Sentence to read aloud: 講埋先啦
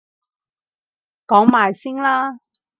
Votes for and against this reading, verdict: 4, 0, accepted